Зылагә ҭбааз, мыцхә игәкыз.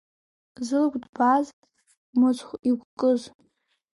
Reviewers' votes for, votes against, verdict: 0, 2, rejected